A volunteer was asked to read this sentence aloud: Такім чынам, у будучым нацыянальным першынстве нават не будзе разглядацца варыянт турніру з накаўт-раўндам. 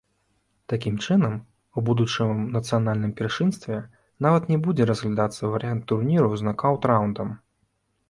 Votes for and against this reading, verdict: 0, 2, rejected